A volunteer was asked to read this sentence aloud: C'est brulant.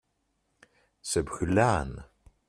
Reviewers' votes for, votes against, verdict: 0, 2, rejected